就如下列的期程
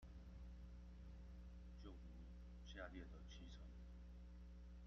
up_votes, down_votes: 0, 2